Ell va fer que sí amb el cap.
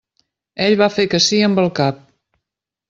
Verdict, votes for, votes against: accepted, 3, 0